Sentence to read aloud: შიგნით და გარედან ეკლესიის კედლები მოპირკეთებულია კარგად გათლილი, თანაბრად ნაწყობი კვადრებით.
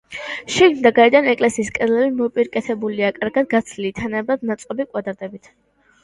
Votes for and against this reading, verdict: 0, 2, rejected